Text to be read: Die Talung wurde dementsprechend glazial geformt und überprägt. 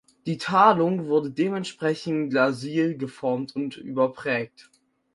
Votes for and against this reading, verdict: 0, 6, rejected